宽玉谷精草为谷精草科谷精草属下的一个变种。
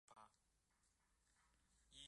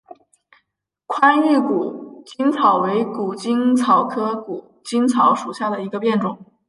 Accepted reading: second